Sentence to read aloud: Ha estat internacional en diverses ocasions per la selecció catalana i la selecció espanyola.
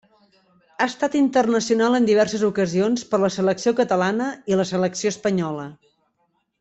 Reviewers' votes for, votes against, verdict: 3, 0, accepted